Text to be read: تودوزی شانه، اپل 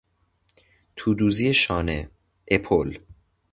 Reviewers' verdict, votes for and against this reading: accepted, 2, 0